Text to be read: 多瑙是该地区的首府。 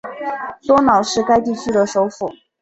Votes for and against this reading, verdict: 9, 0, accepted